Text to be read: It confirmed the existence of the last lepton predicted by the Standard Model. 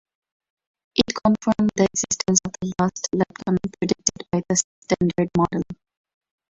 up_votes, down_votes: 0, 4